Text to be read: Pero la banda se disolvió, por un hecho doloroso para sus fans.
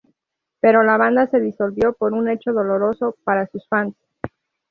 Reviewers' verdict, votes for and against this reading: accepted, 2, 0